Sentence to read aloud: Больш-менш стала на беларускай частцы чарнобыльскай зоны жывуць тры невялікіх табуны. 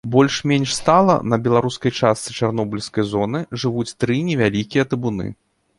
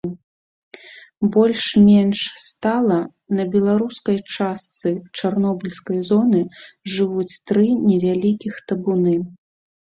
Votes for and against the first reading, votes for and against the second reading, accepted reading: 2, 3, 3, 0, second